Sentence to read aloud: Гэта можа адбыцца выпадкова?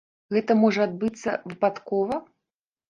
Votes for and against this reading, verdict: 2, 0, accepted